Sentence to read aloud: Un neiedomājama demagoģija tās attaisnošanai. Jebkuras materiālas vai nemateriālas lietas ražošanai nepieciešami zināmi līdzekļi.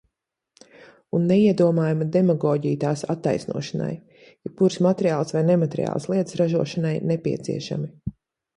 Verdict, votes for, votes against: rejected, 0, 2